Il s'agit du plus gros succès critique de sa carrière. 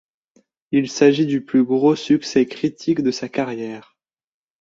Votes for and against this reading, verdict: 2, 0, accepted